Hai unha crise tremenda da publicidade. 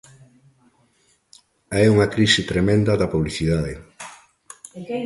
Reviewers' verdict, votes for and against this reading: rejected, 1, 2